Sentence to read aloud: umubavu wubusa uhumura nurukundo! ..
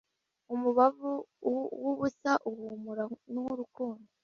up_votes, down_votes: 0, 2